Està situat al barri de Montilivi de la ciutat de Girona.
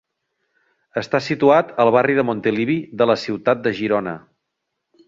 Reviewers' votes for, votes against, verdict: 2, 0, accepted